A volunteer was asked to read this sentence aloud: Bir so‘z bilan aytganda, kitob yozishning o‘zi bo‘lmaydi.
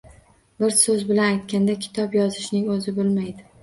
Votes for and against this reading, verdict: 0, 2, rejected